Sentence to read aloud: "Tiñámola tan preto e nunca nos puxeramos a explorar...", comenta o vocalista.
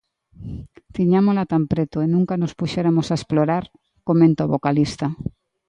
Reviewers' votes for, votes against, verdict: 1, 2, rejected